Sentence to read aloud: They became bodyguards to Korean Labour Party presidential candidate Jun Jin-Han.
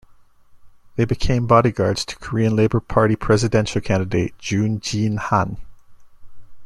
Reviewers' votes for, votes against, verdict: 2, 0, accepted